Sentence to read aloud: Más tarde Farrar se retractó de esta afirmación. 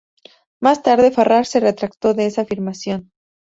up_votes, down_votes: 4, 0